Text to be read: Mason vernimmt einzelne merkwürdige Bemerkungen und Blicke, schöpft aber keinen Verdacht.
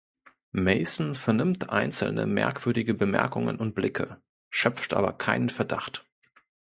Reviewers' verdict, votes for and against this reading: accepted, 2, 0